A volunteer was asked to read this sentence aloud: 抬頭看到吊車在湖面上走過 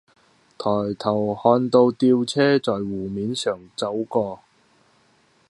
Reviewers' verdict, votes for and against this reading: accepted, 2, 1